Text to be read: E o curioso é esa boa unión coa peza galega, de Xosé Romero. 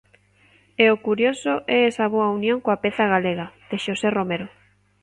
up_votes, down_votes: 2, 0